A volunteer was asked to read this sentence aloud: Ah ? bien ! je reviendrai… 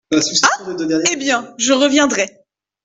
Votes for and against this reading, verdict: 0, 2, rejected